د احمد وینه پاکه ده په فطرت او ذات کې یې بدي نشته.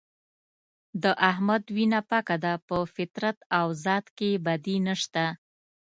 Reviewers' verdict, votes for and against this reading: accepted, 2, 0